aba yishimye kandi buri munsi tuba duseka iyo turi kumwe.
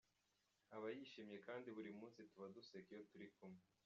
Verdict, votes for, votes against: rejected, 0, 2